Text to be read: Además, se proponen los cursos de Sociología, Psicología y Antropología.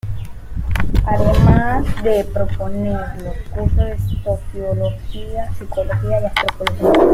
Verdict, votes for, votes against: rejected, 0, 2